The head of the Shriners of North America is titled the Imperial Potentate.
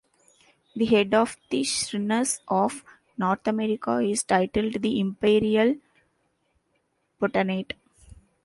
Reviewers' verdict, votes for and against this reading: rejected, 0, 2